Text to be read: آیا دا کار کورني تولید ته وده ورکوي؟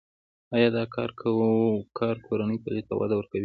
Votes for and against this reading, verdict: 2, 0, accepted